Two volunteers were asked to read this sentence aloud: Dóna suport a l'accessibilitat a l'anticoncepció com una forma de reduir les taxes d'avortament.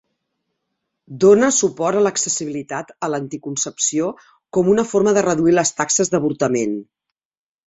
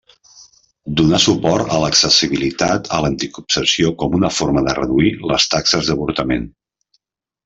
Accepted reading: first